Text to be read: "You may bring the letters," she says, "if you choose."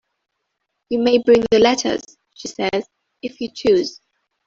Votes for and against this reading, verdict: 2, 0, accepted